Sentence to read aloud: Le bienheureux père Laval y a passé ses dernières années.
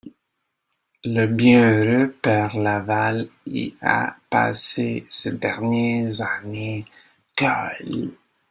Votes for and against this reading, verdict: 0, 2, rejected